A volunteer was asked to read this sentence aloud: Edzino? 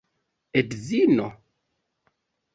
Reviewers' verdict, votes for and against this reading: rejected, 0, 2